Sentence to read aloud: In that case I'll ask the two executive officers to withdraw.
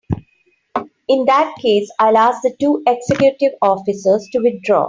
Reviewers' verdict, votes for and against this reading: accepted, 3, 1